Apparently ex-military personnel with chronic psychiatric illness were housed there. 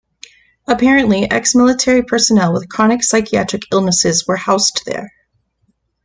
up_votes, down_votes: 1, 2